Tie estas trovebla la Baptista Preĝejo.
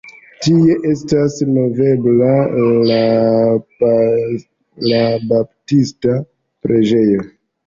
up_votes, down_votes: 1, 2